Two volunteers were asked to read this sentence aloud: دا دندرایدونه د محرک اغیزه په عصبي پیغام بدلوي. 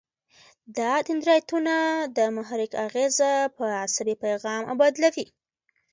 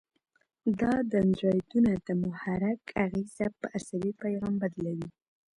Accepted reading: first